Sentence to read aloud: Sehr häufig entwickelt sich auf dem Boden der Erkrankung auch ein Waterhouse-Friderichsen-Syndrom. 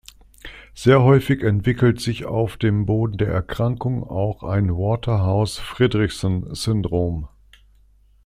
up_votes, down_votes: 2, 0